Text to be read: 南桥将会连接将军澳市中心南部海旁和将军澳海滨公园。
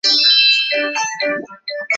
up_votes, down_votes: 0, 5